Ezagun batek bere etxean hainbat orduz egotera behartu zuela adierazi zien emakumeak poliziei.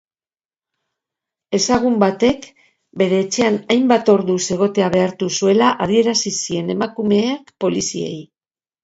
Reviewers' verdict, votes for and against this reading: rejected, 0, 2